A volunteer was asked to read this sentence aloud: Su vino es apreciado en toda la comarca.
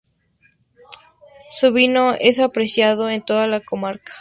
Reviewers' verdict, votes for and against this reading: accepted, 2, 0